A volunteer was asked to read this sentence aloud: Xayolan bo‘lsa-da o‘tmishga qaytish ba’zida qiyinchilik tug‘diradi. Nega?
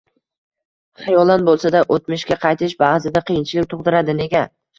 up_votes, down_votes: 2, 0